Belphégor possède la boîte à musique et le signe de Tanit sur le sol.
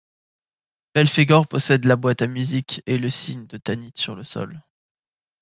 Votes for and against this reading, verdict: 2, 0, accepted